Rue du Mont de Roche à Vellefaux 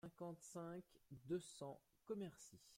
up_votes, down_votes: 0, 2